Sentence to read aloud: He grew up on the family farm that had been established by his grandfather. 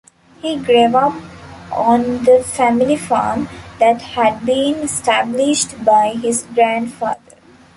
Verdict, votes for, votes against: rejected, 1, 2